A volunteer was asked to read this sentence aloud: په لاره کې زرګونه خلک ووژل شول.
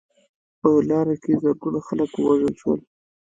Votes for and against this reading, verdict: 3, 2, accepted